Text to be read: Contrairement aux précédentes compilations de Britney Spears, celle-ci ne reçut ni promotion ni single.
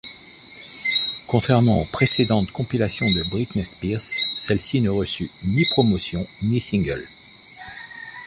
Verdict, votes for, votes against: rejected, 1, 2